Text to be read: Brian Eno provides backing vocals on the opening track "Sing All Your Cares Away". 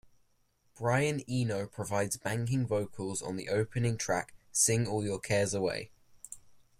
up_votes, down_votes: 1, 2